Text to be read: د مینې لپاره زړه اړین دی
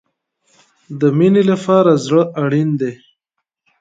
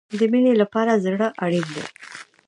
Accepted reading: second